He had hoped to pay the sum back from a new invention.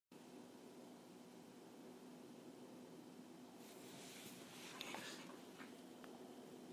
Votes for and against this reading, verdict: 0, 2, rejected